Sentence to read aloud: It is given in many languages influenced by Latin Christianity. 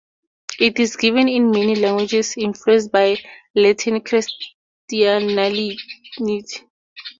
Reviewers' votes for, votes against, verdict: 0, 2, rejected